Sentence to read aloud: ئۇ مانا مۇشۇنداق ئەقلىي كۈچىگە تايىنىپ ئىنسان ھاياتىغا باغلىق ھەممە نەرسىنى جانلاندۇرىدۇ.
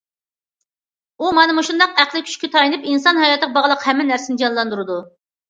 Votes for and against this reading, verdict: 2, 0, accepted